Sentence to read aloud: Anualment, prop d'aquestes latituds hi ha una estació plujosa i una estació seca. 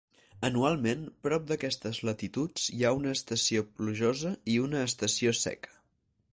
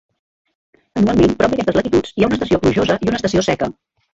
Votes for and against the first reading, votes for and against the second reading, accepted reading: 4, 0, 0, 2, first